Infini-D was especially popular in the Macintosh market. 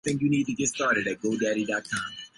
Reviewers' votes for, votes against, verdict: 0, 2, rejected